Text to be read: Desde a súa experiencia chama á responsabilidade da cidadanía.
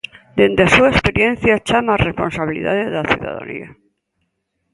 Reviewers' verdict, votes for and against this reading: rejected, 0, 3